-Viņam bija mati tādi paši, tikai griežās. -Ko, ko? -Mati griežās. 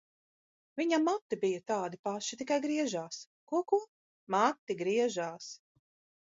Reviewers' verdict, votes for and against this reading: rejected, 1, 2